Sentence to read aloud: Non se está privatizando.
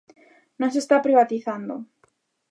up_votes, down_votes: 2, 0